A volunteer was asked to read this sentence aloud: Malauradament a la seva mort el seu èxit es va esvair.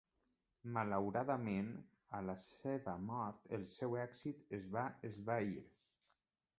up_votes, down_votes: 1, 2